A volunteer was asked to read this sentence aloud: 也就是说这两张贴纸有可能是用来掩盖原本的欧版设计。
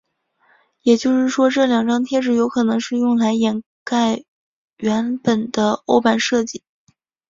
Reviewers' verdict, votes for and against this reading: accepted, 2, 0